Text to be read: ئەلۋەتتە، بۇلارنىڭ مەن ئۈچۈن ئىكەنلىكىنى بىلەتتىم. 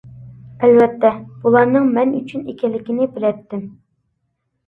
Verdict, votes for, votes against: accepted, 2, 0